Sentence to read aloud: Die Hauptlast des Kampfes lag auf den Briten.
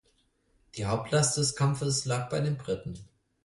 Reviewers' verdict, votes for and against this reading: rejected, 2, 4